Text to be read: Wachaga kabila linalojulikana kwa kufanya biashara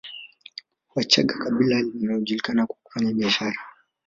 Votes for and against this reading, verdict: 3, 0, accepted